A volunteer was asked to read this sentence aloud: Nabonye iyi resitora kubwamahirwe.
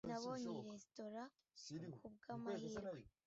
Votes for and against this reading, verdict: 2, 0, accepted